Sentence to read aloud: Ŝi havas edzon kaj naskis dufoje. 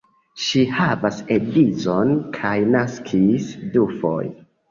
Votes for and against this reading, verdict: 0, 3, rejected